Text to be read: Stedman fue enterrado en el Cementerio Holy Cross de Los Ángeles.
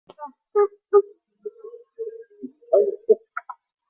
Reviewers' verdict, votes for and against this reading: rejected, 0, 2